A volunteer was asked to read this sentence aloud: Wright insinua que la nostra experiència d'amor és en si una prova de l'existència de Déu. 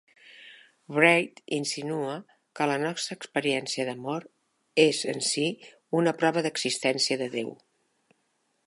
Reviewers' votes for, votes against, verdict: 1, 2, rejected